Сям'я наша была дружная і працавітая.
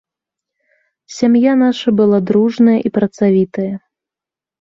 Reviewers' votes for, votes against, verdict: 2, 0, accepted